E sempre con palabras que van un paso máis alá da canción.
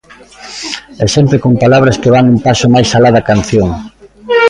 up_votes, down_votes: 1, 2